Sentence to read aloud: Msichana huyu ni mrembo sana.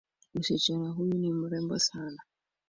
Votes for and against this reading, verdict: 2, 1, accepted